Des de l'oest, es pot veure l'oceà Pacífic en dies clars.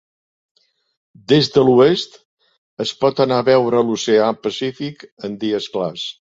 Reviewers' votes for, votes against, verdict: 0, 2, rejected